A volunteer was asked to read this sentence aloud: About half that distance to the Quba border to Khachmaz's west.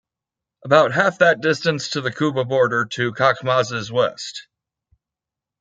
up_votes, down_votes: 2, 0